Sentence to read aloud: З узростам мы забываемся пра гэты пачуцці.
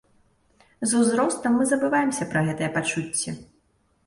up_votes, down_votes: 1, 2